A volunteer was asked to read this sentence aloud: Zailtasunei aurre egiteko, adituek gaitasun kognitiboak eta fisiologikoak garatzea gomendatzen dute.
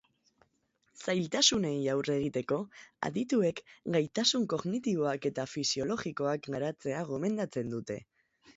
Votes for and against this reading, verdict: 2, 0, accepted